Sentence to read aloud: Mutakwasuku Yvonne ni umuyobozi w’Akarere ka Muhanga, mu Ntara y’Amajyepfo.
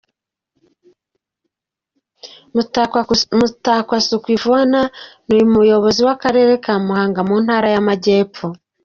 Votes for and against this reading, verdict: 1, 2, rejected